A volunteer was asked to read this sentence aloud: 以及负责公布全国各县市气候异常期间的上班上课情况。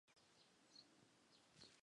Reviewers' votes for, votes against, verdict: 0, 3, rejected